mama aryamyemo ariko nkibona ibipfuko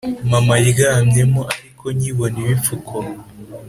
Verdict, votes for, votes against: accepted, 3, 0